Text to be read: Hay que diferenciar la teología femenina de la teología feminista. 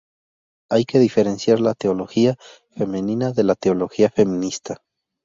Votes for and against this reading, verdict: 2, 0, accepted